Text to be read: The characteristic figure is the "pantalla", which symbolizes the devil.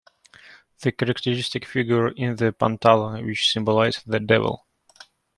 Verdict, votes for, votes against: rejected, 0, 2